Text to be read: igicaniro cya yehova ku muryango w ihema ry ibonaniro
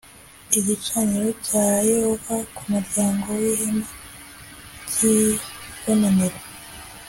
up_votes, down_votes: 2, 0